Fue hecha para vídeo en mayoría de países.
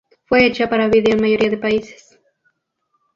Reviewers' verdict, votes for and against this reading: rejected, 4, 4